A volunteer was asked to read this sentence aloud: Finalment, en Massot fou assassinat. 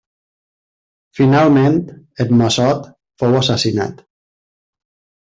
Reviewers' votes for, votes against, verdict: 2, 0, accepted